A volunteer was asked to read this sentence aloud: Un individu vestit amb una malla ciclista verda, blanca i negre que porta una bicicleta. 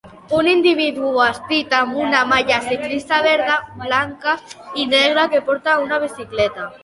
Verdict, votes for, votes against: rejected, 1, 2